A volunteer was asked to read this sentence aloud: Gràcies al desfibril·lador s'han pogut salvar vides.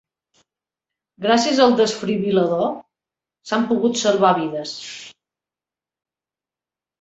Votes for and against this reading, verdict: 2, 0, accepted